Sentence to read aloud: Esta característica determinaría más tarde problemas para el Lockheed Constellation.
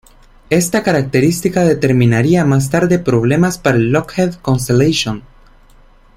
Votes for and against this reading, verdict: 2, 0, accepted